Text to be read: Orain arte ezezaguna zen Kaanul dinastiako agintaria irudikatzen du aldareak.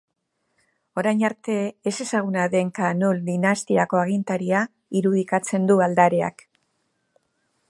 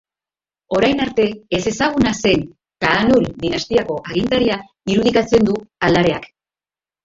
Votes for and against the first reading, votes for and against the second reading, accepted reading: 1, 2, 4, 1, second